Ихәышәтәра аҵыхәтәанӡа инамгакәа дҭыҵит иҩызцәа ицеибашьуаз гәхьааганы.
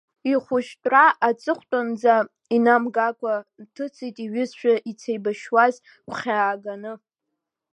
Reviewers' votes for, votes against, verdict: 1, 2, rejected